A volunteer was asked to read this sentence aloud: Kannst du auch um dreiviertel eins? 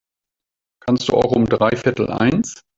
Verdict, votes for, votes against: rejected, 0, 2